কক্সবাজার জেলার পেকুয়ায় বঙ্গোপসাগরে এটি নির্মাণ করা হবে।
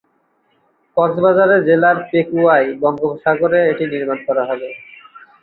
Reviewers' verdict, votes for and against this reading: rejected, 2, 3